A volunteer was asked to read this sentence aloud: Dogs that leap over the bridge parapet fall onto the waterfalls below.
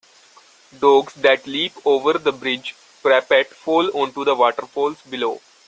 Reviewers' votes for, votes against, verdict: 2, 0, accepted